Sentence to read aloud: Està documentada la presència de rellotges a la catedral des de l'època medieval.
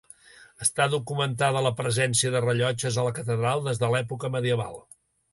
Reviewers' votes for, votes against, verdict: 2, 0, accepted